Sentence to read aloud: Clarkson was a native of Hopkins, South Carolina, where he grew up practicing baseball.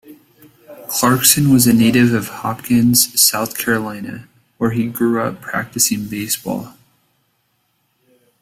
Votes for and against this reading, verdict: 2, 0, accepted